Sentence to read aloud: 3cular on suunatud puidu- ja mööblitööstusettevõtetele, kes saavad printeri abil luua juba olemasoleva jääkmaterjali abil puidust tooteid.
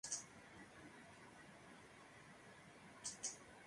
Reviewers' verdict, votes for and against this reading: rejected, 0, 2